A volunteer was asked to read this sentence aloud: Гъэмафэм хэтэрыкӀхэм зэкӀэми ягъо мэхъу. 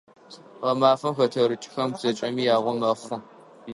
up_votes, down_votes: 0, 3